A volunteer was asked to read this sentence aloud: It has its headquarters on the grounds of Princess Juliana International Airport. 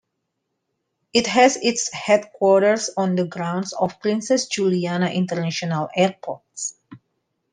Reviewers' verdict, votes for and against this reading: accepted, 2, 0